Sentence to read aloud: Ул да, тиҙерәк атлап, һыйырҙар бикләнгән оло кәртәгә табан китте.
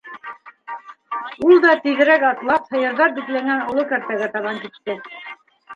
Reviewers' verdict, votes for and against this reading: rejected, 0, 2